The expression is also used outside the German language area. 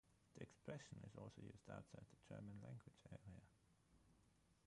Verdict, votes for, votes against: rejected, 0, 6